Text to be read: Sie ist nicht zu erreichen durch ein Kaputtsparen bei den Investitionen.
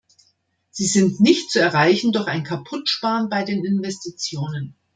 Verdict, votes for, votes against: rejected, 1, 2